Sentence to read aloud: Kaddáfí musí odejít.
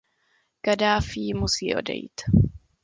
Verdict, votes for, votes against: accepted, 2, 0